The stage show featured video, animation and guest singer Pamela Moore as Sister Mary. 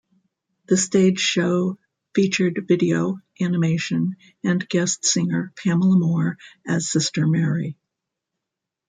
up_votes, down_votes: 2, 1